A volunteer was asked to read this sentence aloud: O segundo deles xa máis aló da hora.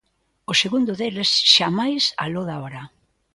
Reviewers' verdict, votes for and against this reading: accepted, 2, 0